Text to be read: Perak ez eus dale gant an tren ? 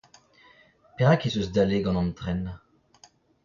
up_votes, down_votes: 0, 2